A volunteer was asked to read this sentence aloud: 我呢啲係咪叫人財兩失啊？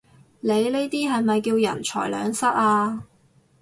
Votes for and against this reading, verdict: 2, 4, rejected